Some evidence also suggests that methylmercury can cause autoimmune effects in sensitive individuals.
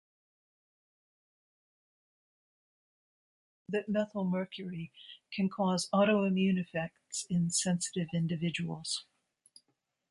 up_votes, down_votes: 0, 2